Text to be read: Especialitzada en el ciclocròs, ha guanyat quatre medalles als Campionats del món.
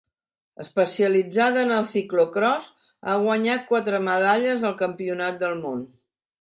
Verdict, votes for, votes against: rejected, 0, 2